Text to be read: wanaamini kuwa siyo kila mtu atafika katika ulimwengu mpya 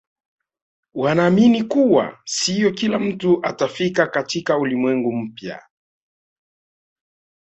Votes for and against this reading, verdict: 3, 0, accepted